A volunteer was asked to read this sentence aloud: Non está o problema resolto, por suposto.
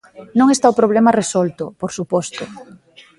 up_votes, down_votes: 2, 0